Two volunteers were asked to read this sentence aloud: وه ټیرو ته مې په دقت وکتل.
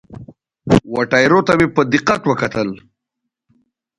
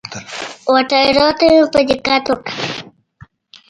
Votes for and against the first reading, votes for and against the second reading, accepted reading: 2, 0, 1, 2, first